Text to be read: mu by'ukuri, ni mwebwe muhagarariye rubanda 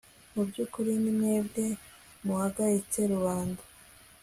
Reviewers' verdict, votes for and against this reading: rejected, 1, 2